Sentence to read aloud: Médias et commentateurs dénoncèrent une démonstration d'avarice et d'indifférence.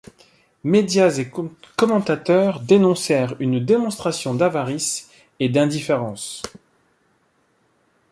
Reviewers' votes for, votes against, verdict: 0, 2, rejected